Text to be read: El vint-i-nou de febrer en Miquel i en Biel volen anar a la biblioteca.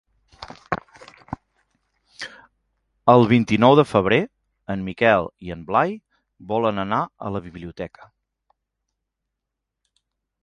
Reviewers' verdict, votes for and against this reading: rejected, 1, 2